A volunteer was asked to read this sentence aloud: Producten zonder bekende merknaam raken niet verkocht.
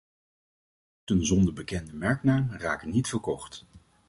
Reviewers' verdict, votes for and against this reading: rejected, 0, 2